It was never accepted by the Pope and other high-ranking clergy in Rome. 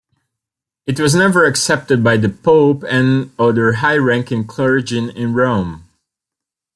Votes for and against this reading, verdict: 0, 2, rejected